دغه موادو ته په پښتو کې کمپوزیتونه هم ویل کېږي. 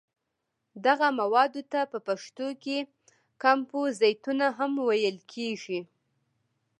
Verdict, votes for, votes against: accepted, 2, 0